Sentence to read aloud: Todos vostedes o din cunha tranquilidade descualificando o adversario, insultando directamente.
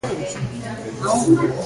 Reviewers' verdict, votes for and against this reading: rejected, 0, 2